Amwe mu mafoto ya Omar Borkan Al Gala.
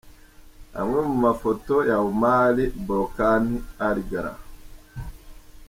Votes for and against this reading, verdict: 2, 0, accepted